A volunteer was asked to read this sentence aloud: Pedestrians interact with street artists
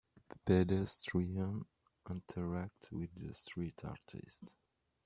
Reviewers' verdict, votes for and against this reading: rejected, 0, 3